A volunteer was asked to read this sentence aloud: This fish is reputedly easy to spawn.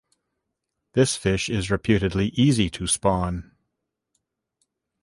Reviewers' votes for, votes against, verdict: 2, 0, accepted